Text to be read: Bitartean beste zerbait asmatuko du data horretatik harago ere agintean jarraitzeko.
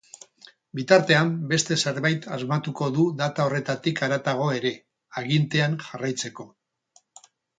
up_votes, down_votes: 2, 4